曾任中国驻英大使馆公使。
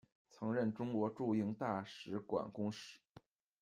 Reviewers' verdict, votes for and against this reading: accepted, 2, 0